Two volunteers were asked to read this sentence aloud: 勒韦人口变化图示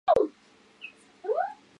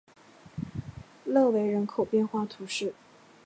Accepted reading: second